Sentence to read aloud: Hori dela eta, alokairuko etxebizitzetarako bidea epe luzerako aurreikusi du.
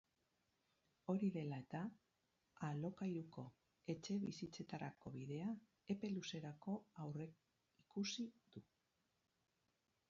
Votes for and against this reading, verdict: 4, 0, accepted